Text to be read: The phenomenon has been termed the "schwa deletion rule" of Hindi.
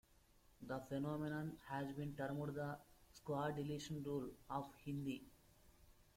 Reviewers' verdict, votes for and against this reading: rejected, 0, 2